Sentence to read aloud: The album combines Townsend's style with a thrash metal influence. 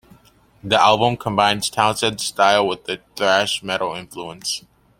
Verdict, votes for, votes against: accepted, 2, 0